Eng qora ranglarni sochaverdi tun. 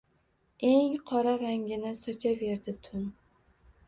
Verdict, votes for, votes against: rejected, 1, 2